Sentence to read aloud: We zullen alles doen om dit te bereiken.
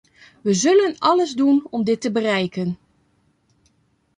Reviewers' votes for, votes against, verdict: 1, 2, rejected